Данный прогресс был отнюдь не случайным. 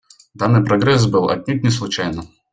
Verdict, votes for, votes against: accepted, 2, 0